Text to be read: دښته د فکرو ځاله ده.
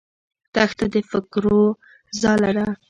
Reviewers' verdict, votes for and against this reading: rejected, 1, 2